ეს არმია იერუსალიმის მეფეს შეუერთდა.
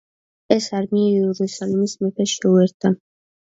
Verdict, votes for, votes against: rejected, 1, 2